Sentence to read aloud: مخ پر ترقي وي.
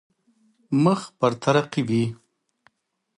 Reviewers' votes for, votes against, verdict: 2, 0, accepted